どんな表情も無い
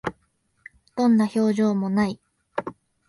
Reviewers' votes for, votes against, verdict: 2, 0, accepted